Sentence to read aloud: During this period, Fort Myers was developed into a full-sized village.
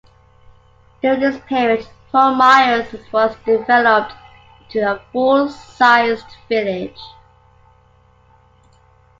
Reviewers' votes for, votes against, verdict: 2, 1, accepted